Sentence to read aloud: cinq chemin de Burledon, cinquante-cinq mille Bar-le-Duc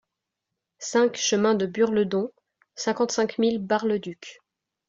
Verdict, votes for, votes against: accepted, 2, 0